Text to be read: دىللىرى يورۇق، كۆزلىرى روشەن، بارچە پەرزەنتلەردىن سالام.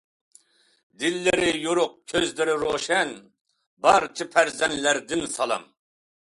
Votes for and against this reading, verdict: 2, 0, accepted